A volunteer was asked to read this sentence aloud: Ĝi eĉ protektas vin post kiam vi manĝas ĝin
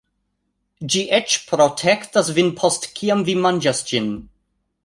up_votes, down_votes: 1, 2